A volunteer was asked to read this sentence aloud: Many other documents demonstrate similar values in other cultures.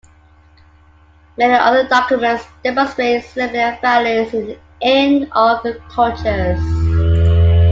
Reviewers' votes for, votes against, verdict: 1, 2, rejected